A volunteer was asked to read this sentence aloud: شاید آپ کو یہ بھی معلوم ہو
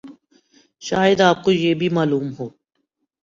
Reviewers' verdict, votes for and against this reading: accepted, 2, 0